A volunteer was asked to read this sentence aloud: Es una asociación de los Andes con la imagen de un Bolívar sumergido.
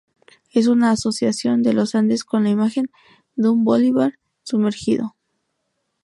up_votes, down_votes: 0, 2